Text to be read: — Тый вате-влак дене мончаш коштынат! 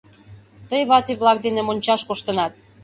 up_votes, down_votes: 3, 0